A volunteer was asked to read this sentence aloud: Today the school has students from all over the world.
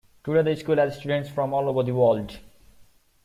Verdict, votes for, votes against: accepted, 2, 1